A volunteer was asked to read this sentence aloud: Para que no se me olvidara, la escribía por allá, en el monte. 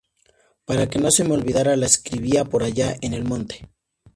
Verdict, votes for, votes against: accepted, 4, 0